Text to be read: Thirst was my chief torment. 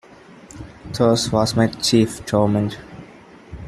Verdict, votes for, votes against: accepted, 2, 1